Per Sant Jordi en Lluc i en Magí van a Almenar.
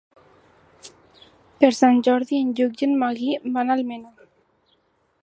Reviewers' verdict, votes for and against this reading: rejected, 1, 2